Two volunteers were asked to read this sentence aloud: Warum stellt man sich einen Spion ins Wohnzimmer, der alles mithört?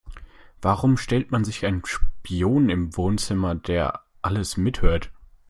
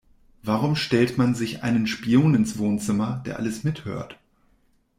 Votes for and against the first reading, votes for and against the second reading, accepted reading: 1, 2, 2, 0, second